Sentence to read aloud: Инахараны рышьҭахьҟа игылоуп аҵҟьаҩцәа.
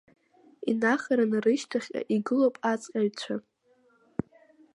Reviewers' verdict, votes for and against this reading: accepted, 2, 0